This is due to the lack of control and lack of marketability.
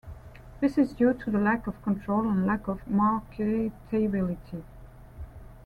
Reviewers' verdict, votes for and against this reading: accepted, 2, 0